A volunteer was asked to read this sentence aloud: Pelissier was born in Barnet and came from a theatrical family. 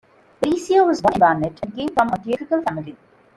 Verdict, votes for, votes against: rejected, 0, 2